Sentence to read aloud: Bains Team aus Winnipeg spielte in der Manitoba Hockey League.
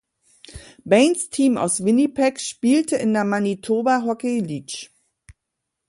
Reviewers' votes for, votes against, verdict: 1, 2, rejected